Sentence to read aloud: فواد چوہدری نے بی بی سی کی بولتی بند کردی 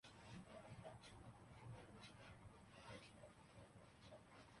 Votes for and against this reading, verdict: 0, 2, rejected